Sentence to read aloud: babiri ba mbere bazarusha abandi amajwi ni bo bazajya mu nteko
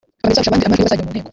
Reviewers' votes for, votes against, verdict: 0, 2, rejected